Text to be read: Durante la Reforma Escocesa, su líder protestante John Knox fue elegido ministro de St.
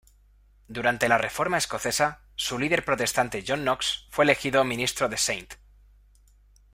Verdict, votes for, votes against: rejected, 1, 2